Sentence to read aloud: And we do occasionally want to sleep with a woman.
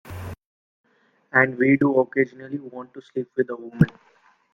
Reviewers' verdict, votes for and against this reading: accepted, 2, 1